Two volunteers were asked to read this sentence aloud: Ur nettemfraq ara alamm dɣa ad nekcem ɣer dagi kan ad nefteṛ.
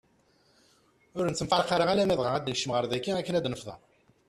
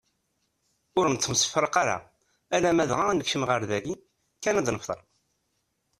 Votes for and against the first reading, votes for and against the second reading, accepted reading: 1, 2, 2, 0, second